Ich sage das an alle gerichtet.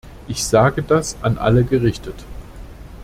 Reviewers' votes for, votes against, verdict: 2, 0, accepted